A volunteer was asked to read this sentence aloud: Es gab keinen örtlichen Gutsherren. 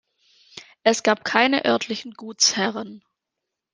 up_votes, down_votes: 1, 2